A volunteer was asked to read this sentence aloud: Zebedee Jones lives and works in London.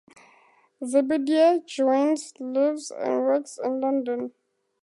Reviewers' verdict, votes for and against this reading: accepted, 4, 0